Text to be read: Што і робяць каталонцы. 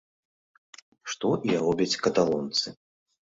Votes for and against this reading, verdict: 2, 0, accepted